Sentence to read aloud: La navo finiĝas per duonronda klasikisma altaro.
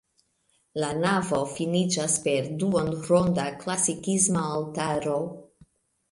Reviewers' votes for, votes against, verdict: 2, 0, accepted